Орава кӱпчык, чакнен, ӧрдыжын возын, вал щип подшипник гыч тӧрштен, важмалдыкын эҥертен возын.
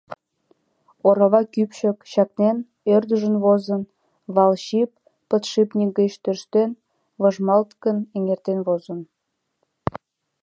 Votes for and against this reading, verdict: 1, 2, rejected